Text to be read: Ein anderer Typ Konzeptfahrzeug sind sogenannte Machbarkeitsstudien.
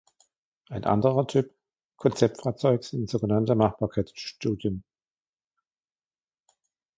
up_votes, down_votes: 2, 1